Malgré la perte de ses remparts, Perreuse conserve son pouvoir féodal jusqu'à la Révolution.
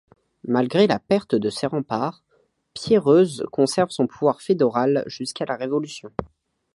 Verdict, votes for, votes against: rejected, 1, 2